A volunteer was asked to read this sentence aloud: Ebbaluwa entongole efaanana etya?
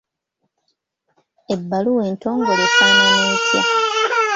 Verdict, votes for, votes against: rejected, 1, 2